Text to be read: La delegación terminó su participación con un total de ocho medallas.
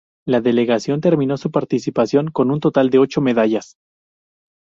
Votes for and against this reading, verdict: 2, 0, accepted